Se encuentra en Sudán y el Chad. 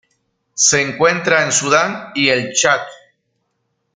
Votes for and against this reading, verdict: 2, 0, accepted